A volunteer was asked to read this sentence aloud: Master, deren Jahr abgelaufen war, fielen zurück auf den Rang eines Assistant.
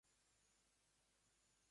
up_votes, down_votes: 0, 2